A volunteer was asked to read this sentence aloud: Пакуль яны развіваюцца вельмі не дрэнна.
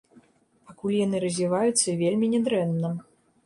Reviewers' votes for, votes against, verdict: 2, 0, accepted